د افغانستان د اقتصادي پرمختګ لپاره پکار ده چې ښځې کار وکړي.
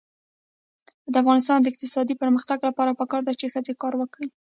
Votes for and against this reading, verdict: 1, 2, rejected